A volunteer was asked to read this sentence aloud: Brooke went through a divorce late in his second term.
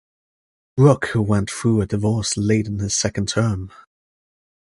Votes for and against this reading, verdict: 1, 2, rejected